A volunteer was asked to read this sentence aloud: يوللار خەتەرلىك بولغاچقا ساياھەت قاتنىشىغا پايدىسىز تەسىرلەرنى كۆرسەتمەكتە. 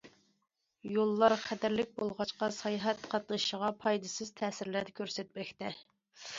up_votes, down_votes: 2, 0